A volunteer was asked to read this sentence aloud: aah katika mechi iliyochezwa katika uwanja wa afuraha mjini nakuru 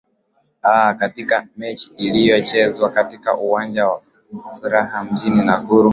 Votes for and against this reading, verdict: 2, 0, accepted